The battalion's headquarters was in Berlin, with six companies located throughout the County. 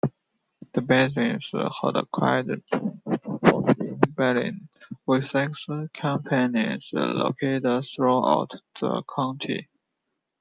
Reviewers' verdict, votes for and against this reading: rejected, 0, 2